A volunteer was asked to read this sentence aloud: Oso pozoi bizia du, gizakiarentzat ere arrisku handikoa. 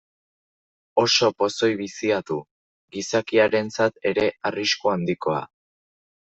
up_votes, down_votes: 2, 0